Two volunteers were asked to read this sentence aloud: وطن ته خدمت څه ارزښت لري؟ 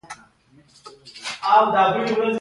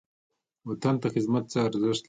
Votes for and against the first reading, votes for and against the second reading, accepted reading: 1, 2, 2, 1, second